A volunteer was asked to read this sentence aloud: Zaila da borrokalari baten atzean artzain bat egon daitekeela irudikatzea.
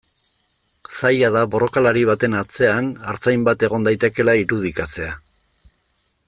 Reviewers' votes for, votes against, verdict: 2, 0, accepted